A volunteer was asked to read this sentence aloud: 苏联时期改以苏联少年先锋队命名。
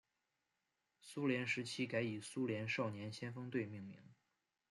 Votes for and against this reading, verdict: 2, 0, accepted